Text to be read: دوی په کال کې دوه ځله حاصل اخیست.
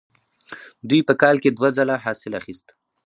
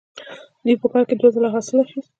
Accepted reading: first